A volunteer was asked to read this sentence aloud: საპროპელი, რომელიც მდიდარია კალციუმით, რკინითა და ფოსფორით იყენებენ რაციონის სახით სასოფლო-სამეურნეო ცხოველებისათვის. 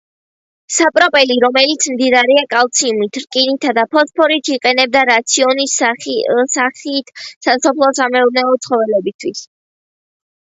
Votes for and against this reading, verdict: 0, 2, rejected